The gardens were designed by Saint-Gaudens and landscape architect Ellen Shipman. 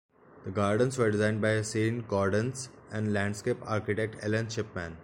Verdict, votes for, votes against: accepted, 2, 0